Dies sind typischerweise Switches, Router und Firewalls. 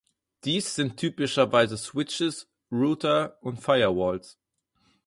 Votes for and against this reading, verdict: 4, 0, accepted